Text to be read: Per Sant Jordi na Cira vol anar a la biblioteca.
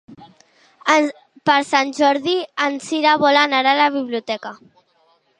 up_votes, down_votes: 0, 2